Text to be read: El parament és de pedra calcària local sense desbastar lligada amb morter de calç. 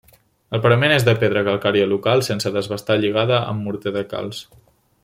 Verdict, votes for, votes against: accepted, 2, 0